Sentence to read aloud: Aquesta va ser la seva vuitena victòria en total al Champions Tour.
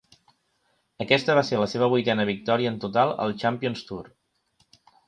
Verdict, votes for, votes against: accepted, 3, 0